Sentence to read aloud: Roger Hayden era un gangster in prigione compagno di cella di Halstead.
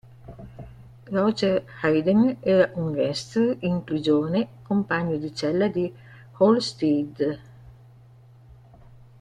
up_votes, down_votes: 1, 2